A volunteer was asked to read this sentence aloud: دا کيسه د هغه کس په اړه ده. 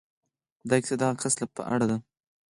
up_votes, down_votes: 2, 4